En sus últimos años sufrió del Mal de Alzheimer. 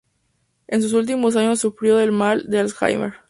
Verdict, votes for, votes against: accepted, 4, 0